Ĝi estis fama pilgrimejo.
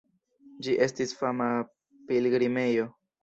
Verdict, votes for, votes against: rejected, 0, 2